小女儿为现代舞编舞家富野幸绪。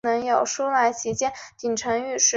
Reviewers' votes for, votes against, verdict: 0, 2, rejected